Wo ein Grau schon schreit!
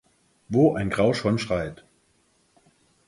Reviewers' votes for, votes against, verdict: 4, 2, accepted